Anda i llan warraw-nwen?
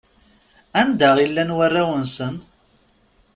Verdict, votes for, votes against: rejected, 0, 2